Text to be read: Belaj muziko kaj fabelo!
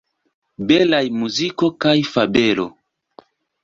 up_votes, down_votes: 2, 1